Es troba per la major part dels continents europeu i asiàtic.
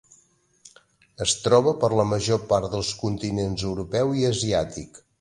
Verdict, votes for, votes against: accepted, 5, 0